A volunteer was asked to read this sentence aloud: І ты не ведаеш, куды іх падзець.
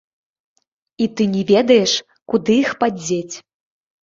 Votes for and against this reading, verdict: 1, 2, rejected